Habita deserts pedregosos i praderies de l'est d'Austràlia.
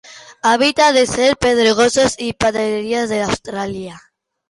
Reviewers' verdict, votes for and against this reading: rejected, 0, 2